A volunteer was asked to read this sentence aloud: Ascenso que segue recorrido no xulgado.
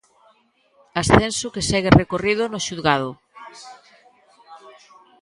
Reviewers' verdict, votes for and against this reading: rejected, 0, 2